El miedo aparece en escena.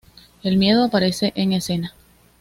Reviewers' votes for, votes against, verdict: 2, 0, accepted